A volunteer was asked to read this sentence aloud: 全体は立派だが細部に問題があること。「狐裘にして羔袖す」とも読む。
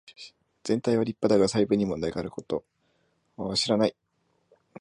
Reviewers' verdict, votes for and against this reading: rejected, 0, 2